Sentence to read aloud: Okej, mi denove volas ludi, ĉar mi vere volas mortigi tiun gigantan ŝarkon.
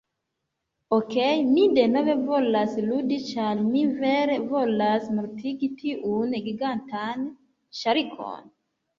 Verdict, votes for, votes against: rejected, 0, 2